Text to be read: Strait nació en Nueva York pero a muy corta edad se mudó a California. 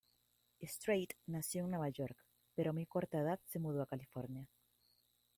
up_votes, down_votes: 0, 3